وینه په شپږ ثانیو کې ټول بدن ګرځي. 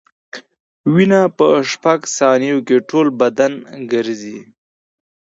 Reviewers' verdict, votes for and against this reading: accepted, 2, 0